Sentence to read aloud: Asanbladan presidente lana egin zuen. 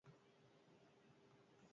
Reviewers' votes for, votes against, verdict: 0, 2, rejected